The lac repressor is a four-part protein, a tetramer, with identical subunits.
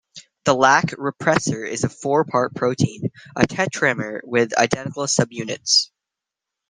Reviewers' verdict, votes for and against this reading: accepted, 2, 1